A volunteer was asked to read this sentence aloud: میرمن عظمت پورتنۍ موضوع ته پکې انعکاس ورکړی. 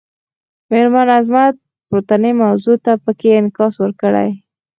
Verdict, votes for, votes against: rejected, 0, 4